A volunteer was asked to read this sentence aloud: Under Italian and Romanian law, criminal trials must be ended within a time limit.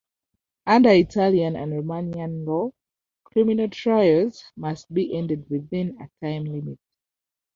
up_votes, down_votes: 2, 0